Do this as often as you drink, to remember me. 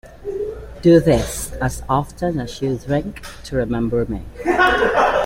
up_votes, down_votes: 2, 1